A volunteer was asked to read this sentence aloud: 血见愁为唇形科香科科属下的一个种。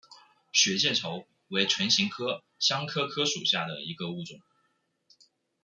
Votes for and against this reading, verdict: 0, 2, rejected